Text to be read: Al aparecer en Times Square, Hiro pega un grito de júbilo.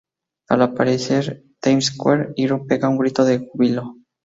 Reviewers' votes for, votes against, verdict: 0, 2, rejected